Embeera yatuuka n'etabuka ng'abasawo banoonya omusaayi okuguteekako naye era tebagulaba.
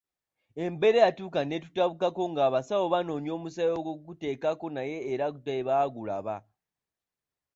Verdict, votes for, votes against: rejected, 0, 2